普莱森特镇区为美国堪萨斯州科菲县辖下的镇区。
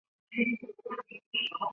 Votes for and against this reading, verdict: 0, 4, rejected